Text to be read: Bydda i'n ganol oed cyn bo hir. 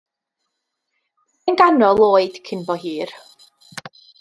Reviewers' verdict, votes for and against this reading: rejected, 1, 2